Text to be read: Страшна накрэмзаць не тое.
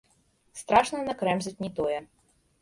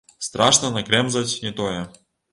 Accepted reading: first